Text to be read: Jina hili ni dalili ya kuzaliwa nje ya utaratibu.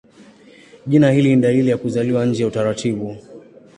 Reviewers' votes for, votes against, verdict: 2, 0, accepted